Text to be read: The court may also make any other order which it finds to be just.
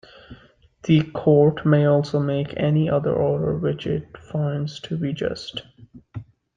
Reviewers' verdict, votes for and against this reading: accepted, 2, 0